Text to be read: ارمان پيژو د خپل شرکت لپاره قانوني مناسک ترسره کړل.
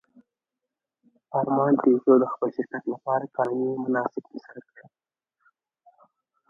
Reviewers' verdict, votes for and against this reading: accepted, 2, 1